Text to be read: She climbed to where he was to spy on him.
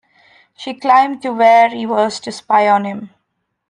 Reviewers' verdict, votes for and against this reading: accepted, 2, 1